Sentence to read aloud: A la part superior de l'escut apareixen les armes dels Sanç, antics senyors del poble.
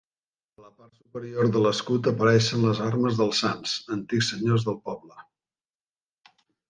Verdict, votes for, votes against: accepted, 2, 1